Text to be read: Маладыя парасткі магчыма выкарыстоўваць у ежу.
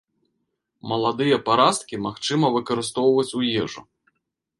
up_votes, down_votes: 1, 2